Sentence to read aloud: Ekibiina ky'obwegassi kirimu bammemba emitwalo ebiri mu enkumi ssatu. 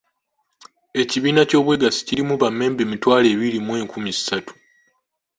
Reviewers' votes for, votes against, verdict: 2, 0, accepted